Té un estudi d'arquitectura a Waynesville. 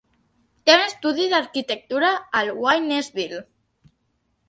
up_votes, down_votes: 1, 2